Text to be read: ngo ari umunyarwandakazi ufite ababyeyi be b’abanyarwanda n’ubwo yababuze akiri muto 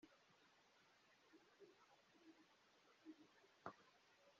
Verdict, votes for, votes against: rejected, 0, 2